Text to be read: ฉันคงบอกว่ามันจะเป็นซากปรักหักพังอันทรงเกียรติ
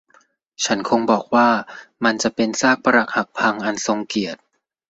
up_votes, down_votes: 2, 0